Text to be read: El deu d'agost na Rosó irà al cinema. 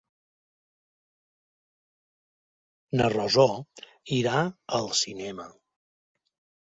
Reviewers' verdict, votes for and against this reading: rejected, 0, 2